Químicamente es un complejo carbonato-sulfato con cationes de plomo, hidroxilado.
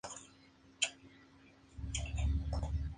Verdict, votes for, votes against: rejected, 2, 4